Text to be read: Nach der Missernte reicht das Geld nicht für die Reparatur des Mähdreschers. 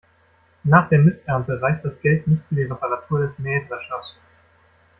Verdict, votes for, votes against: accepted, 2, 0